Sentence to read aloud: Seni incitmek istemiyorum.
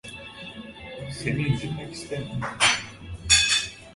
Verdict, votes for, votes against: rejected, 0, 2